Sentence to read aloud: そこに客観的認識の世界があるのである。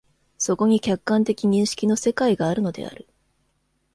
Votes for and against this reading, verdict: 2, 0, accepted